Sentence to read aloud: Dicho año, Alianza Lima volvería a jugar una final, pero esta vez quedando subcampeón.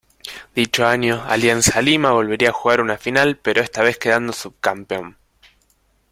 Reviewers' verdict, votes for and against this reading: accepted, 2, 0